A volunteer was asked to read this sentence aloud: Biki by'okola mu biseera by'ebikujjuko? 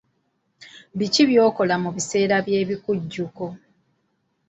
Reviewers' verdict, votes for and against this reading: accepted, 2, 0